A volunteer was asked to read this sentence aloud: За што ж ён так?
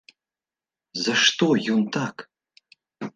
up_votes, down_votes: 0, 2